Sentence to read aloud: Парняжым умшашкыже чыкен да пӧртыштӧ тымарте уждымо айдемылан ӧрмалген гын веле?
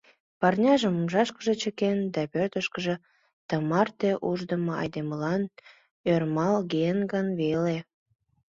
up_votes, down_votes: 2, 1